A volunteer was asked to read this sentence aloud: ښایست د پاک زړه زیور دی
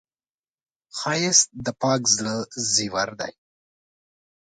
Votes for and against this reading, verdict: 2, 0, accepted